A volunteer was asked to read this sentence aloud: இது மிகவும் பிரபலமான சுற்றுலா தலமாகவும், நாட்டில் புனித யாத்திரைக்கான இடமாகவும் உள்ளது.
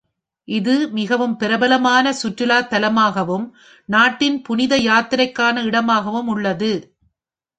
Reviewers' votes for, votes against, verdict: 2, 0, accepted